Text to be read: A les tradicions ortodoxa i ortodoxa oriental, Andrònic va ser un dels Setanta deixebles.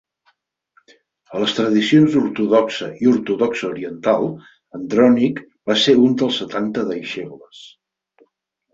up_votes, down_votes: 4, 0